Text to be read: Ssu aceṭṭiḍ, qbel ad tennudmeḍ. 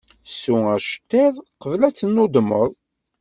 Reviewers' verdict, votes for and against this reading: accepted, 2, 0